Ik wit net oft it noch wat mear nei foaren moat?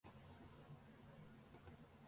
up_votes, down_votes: 0, 2